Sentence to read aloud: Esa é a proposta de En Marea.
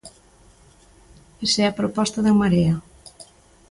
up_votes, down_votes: 2, 0